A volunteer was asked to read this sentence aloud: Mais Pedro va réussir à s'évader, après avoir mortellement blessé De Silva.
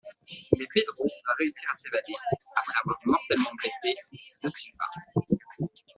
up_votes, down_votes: 0, 2